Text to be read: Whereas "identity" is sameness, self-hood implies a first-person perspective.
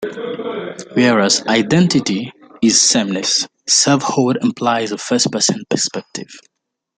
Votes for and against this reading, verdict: 2, 0, accepted